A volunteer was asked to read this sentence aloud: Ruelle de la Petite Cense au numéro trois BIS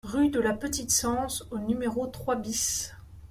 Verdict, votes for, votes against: rejected, 0, 2